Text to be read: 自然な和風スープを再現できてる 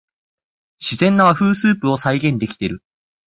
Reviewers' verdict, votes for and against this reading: accepted, 6, 0